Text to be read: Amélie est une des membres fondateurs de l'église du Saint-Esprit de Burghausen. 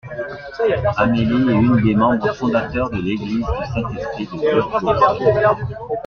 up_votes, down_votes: 1, 2